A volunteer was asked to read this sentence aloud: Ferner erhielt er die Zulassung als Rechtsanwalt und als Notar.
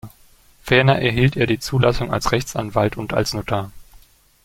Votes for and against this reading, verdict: 2, 0, accepted